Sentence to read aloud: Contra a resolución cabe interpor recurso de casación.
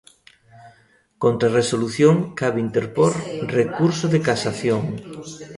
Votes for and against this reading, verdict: 2, 0, accepted